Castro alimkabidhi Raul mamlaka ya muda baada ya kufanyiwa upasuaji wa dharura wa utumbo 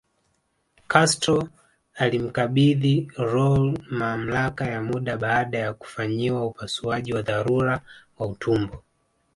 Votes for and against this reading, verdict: 2, 0, accepted